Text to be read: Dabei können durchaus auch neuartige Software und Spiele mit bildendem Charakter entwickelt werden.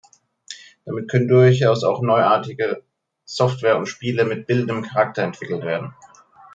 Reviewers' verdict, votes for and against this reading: rejected, 1, 2